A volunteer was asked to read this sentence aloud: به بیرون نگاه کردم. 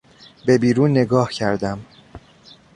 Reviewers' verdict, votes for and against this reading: accepted, 2, 0